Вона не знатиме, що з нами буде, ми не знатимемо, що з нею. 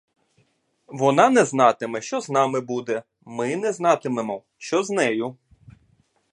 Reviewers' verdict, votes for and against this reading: accepted, 2, 0